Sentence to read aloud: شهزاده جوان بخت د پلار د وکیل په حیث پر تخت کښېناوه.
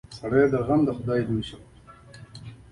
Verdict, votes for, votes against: accepted, 2, 0